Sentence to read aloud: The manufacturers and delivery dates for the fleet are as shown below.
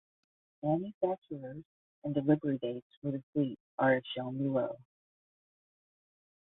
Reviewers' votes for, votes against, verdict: 0, 10, rejected